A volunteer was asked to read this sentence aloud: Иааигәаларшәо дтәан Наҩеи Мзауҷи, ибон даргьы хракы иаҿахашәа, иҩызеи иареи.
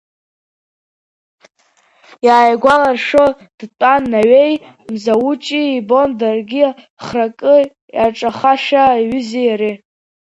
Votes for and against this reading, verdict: 1, 2, rejected